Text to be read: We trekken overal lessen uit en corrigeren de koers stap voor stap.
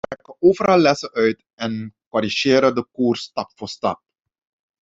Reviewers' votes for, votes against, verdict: 0, 2, rejected